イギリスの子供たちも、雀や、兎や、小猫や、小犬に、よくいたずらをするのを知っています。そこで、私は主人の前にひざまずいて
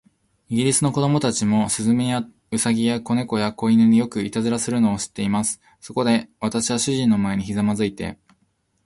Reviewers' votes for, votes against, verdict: 2, 0, accepted